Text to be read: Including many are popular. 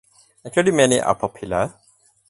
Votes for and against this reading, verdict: 4, 0, accepted